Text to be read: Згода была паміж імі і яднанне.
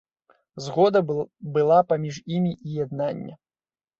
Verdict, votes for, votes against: rejected, 0, 2